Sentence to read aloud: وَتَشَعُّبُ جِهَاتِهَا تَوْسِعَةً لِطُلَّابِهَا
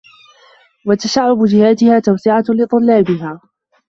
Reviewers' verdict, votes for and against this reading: rejected, 0, 2